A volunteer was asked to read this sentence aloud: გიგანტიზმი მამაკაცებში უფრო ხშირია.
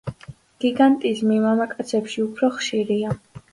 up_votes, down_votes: 2, 0